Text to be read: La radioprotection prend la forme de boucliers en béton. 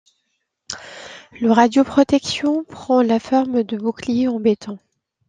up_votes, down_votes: 0, 2